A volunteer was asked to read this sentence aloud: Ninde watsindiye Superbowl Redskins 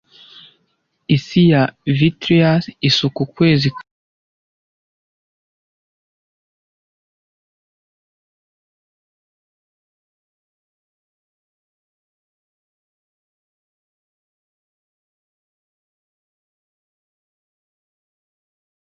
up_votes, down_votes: 0, 2